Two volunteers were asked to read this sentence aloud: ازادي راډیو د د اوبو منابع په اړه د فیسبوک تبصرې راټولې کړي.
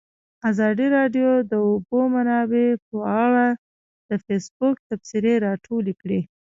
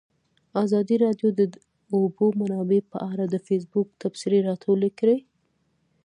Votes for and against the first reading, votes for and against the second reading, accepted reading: 0, 2, 2, 0, second